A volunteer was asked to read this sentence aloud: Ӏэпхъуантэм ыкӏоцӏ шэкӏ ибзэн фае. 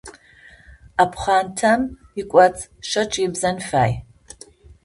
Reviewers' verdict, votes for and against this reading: rejected, 0, 2